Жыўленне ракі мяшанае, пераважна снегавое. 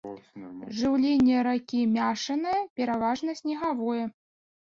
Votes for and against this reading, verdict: 0, 2, rejected